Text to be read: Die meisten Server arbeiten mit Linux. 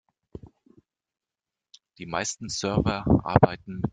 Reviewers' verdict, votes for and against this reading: rejected, 0, 2